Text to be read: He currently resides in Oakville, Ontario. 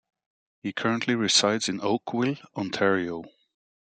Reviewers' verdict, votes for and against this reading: accepted, 2, 0